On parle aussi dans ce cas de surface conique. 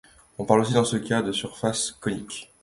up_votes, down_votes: 2, 1